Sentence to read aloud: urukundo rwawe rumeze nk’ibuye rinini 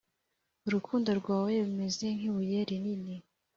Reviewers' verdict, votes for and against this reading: accepted, 2, 0